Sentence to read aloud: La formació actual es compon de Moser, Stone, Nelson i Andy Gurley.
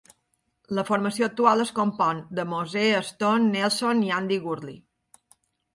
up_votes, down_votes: 4, 0